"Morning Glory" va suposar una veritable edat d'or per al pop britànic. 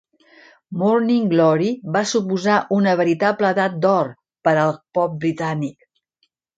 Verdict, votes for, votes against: rejected, 1, 2